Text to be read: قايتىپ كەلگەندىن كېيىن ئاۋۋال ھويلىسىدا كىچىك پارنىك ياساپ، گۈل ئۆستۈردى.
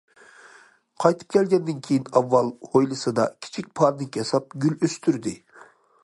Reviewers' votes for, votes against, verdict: 2, 0, accepted